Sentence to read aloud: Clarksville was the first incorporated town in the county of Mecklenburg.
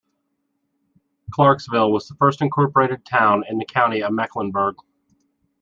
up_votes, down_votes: 2, 0